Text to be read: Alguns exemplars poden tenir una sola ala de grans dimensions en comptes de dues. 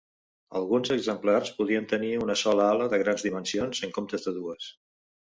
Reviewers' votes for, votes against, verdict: 1, 2, rejected